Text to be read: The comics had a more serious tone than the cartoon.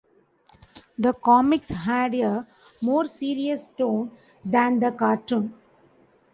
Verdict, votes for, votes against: accepted, 2, 0